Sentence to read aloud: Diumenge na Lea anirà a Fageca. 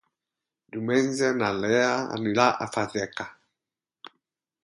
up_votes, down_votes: 4, 4